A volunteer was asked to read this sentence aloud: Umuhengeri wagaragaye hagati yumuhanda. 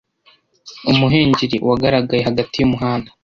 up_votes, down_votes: 2, 0